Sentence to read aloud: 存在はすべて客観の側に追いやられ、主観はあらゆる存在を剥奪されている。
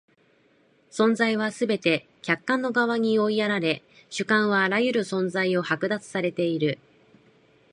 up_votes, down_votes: 2, 1